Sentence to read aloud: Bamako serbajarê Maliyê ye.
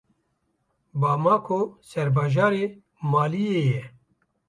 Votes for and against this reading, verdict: 1, 2, rejected